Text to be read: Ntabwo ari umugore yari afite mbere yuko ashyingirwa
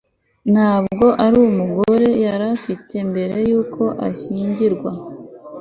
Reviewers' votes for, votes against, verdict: 2, 0, accepted